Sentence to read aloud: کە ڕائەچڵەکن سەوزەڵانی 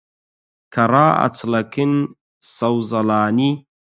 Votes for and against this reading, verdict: 4, 0, accepted